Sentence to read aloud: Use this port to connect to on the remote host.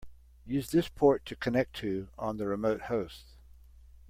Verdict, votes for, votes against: accepted, 2, 0